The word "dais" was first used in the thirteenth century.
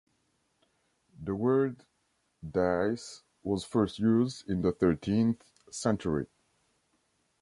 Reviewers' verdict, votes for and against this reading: rejected, 1, 2